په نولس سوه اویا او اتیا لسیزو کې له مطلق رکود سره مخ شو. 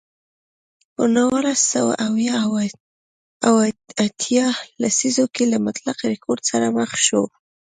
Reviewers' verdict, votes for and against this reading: rejected, 1, 2